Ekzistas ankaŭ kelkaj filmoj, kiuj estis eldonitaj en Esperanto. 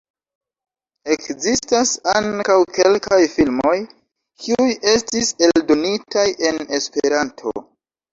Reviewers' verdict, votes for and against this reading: rejected, 1, 2